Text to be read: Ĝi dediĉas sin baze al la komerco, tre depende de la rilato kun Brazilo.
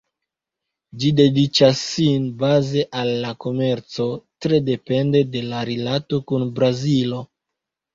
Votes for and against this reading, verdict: 2, 0, accepted